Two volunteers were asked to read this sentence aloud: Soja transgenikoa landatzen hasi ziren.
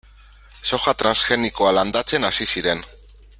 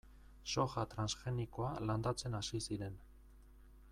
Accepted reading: second